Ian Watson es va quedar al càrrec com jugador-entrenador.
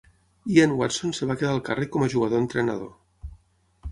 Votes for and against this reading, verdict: 0, 6, rejected